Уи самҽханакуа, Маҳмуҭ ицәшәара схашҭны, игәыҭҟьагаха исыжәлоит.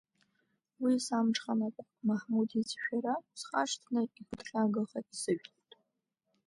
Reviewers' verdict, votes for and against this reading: rejected, 1, 2